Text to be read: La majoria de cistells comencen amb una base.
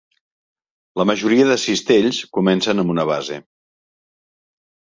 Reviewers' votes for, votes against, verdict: 3, 0, accepted